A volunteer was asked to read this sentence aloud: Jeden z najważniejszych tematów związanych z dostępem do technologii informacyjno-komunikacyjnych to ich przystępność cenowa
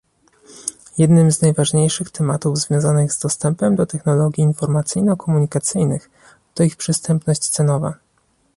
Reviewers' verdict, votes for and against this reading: rejected, 0, 2